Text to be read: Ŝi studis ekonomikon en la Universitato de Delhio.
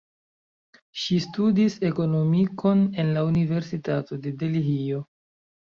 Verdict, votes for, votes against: accepted, 2, 1